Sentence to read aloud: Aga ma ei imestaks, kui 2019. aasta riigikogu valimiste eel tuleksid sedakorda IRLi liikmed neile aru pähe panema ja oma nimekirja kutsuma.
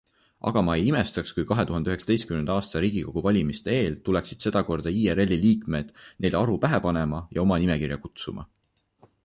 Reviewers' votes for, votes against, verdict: 0, 2, rejected